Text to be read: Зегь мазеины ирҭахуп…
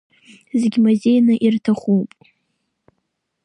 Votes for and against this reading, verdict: 2, 1, accepted